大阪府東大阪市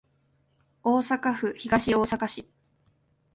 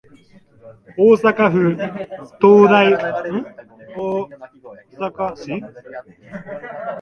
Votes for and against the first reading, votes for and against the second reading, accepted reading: 2, 0, 0, 2, first